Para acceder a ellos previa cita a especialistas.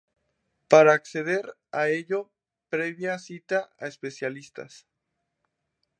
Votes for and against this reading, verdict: 2, 0, accepted